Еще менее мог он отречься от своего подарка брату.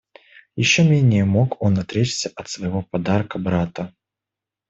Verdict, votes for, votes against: rejected, 1, 2